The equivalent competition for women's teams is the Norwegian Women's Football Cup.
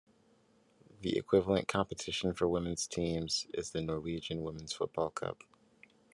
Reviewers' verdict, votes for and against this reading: rejected, 1, 2